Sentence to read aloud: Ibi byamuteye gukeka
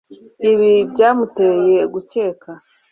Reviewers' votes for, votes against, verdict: 2, 0, accepted